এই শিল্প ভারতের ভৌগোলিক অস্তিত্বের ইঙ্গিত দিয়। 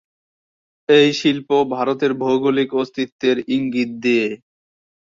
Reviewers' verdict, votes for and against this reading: accepted, 3, 2